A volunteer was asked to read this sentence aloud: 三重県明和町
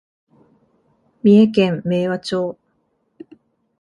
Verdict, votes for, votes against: accepted, 2, 0